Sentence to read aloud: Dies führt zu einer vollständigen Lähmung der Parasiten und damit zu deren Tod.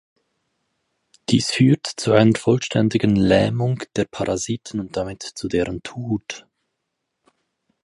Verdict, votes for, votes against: rejected, 2, 4